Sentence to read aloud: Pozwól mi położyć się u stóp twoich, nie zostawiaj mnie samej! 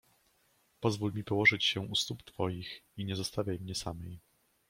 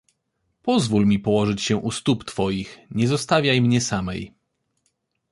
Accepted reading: second